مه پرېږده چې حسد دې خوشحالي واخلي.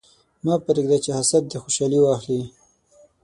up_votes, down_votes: 6, 0